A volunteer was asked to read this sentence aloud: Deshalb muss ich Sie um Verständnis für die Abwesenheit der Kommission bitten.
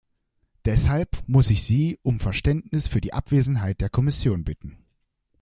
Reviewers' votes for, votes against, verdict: 2, 0, accepted